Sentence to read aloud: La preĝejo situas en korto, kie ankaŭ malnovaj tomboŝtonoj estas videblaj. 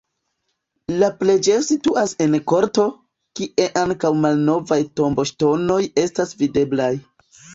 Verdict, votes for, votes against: accepted, 2, 1